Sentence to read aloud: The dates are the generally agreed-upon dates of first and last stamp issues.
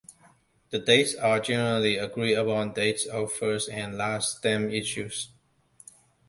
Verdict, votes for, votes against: rejected, 0, 2